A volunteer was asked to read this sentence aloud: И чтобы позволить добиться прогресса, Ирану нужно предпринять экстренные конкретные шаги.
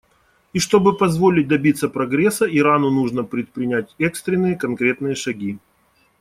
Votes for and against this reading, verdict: 2, 0, accepted